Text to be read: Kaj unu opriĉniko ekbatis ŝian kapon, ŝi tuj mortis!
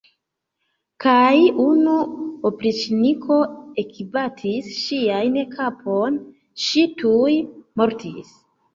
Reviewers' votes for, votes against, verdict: 0, 2, rejected